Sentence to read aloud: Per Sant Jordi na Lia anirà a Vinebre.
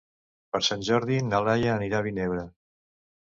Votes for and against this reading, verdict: 0, 2, rejected